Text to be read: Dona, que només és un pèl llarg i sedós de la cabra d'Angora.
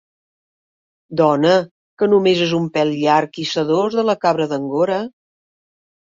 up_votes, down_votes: 4, 0